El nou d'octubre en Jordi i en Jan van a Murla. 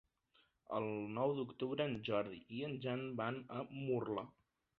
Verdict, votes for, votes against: accepted, 3, 0